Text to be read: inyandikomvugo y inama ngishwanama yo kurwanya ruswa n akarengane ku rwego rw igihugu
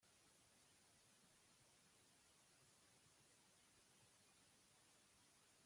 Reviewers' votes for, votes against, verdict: 0, 2, rejected